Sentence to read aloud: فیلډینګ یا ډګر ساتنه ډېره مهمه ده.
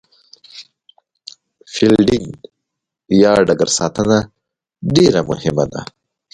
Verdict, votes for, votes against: rejected, 1, 2